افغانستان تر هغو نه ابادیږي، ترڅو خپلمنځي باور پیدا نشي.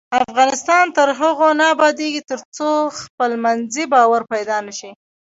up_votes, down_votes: 2, 0